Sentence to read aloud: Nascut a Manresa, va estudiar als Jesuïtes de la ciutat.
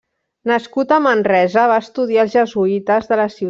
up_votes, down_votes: 0, 3